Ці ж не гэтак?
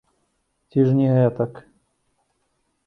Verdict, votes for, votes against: accepted, 2, 0